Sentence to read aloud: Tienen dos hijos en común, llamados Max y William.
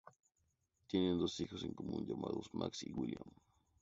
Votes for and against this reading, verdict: 2, 0, accepted